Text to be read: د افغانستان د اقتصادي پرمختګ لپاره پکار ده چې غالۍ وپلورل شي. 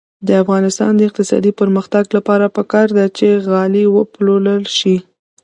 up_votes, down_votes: 2, 0